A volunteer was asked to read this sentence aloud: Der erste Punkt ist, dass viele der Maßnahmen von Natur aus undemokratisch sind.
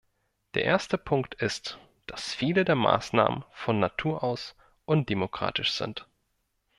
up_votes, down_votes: 2, 0